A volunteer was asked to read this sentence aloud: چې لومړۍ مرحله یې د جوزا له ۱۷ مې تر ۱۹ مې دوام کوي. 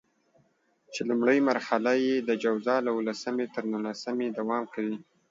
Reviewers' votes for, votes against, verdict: 0, 2, rejected